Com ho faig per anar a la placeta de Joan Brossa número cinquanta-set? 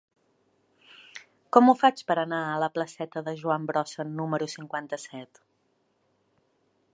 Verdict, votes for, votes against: accepted, 2, 0